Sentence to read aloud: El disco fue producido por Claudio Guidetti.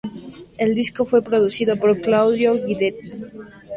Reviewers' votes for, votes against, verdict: 2, 0, accepted